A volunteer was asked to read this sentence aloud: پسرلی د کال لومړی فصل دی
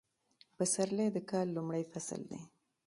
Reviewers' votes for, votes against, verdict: 2, 0, accepted